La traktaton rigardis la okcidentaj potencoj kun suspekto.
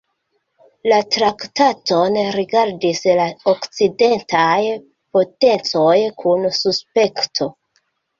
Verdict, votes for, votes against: accepted, 2, 0